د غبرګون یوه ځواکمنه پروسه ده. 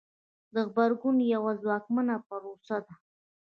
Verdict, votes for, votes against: rejected, 1, 2